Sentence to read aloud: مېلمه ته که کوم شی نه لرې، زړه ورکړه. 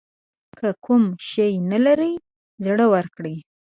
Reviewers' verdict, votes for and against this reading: rejected, 1, 2